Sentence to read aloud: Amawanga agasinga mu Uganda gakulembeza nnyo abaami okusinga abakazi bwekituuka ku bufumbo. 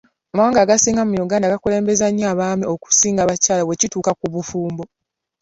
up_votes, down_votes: 0, 2